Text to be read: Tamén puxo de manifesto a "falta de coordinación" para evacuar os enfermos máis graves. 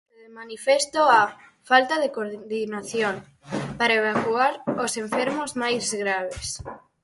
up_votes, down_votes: 0, 4